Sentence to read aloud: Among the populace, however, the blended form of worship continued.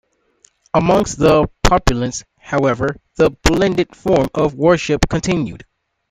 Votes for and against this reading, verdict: 0, 2, rejected